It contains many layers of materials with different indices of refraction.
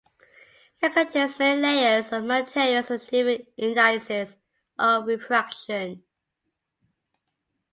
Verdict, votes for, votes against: accepted, 2, 1